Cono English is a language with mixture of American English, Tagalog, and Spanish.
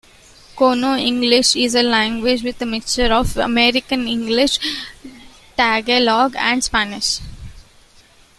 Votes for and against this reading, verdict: 0, 2, rejected